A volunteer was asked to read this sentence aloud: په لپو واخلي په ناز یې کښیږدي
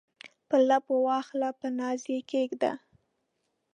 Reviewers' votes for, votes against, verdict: 1, 2, rejected